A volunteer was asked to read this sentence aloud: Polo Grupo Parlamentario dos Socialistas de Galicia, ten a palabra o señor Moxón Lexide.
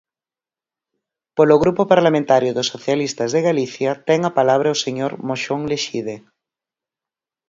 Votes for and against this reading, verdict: 4, 0, accepted